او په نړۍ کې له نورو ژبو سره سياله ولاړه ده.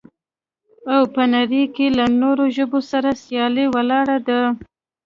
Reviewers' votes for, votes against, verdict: 1, 2, rejected